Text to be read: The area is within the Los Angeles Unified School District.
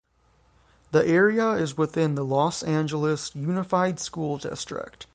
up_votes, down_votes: 3, 3